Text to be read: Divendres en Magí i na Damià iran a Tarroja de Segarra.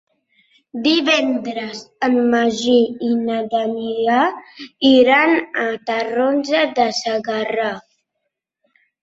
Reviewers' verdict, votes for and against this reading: rejected, 1, 2